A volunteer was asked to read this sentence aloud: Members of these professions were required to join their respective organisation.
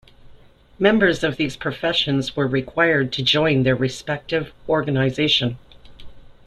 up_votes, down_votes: 2, 0